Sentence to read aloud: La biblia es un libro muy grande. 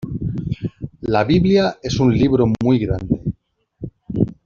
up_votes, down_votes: 2, 0